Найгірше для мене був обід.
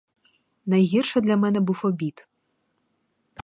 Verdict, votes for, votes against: accepted, 4, 0